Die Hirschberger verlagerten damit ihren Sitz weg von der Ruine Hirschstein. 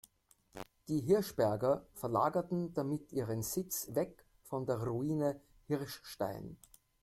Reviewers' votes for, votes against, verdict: 2, 0, accepted